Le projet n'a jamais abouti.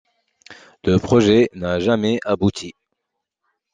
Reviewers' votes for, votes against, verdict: 2, 0, accepted